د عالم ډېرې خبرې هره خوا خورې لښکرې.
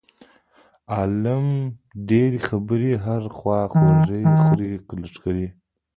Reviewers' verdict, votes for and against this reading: rejected, 0, 2